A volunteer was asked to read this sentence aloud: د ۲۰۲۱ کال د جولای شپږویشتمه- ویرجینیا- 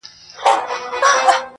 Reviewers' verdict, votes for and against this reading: rejected, 0, 2